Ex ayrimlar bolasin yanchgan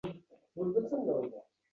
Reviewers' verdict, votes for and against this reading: rejected, 0, 4